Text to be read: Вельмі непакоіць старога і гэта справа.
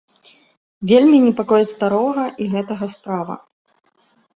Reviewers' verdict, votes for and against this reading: rejected, 0, 2